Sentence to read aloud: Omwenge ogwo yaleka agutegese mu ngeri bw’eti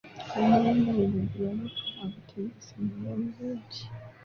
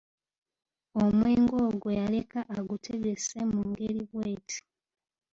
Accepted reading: second